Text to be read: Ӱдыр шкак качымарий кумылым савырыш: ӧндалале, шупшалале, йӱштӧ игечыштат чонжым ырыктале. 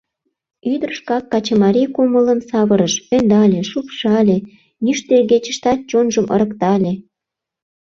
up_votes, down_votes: 0, 2